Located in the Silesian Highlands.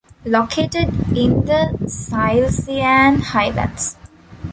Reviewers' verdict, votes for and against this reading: rejected, 1, 2